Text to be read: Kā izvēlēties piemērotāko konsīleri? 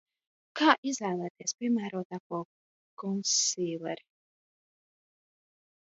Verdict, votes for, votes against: rejected, 0, 2